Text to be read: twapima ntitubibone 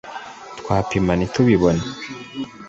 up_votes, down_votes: 2, 0